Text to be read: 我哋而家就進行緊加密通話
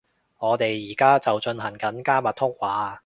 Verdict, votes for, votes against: accepted, 2, 0